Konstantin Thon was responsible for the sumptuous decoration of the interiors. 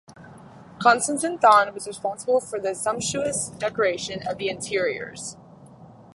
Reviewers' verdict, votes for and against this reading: rejected, 2, 2